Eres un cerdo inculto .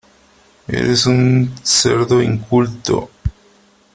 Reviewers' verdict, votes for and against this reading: accepted, 2, 0